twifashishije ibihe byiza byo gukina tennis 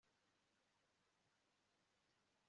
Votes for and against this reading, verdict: 1, 2, rejected